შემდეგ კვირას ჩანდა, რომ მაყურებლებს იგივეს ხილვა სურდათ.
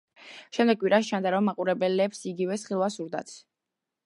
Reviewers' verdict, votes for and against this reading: accepted, 2, 0